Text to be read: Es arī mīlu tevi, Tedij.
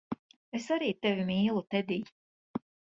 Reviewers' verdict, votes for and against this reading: rejected, 1, 2